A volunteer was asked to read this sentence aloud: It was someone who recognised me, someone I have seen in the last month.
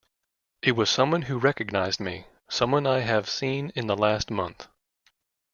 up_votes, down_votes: 2, 0